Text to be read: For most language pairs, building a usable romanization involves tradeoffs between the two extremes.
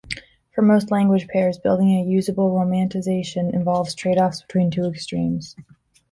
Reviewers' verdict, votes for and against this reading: rejected, 1, 2